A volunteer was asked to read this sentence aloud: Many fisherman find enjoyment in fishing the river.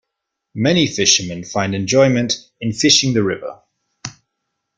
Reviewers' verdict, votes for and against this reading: accepted, 2, 0